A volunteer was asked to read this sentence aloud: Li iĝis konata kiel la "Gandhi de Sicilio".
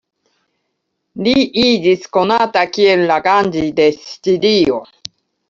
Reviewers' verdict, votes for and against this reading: rejected, 0, 2